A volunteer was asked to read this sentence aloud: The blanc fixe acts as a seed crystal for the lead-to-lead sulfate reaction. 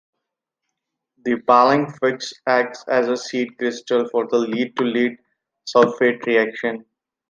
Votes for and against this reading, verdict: 0, 2, rejected